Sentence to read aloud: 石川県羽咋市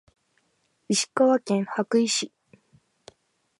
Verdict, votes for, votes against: accepted, 2, 0